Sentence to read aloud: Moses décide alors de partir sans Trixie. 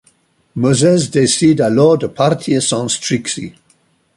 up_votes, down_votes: 1, 2